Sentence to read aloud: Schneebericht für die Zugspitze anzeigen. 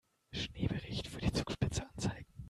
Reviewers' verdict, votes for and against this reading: rejected, 1, 2